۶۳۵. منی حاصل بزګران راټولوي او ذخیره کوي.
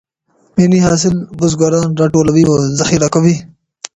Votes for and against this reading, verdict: 0, 2, rejected